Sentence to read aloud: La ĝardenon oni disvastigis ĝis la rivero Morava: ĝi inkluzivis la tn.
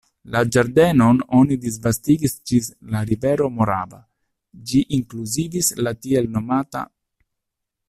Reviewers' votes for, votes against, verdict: 0, 2, rejected